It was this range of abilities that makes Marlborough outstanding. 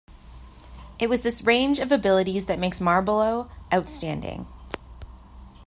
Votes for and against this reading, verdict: 2, 1, accepted